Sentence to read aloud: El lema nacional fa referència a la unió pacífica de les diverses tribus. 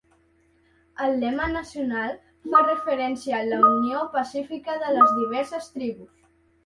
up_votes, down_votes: 0, 2